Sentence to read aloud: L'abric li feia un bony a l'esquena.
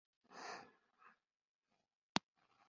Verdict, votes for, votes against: rejected, 0, 2